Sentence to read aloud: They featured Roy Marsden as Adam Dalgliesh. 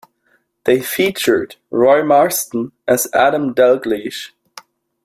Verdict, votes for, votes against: accepted, 2, 0